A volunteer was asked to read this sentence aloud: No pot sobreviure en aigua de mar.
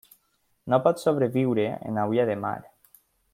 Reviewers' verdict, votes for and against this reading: rejected, 0, 2